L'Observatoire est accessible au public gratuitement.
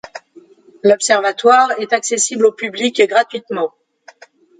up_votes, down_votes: 2, 0